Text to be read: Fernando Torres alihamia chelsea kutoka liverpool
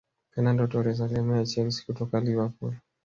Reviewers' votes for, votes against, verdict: 2, 0, accepted